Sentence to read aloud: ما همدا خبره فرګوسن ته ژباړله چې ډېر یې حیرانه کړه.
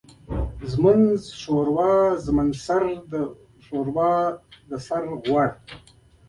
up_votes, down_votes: 1, 2